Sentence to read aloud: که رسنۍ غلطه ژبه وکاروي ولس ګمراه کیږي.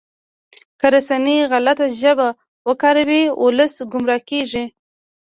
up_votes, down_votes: 0, 2